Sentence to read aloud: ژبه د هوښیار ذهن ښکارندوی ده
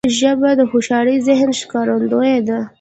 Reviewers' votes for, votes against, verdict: 2, 1, accepted